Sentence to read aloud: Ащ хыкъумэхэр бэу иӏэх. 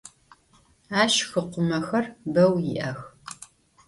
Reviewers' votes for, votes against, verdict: 2, 0, accepted